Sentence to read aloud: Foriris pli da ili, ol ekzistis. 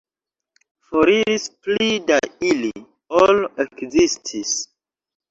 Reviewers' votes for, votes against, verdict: 0, 2, rejected